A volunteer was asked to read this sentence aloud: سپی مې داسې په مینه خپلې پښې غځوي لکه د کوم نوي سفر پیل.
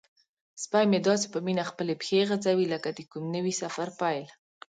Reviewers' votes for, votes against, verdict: 2, 0, accepted